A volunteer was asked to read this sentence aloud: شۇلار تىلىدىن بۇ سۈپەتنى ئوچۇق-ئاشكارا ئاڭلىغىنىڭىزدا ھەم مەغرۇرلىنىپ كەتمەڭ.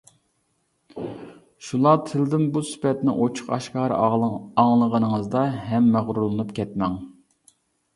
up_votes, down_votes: 1, 2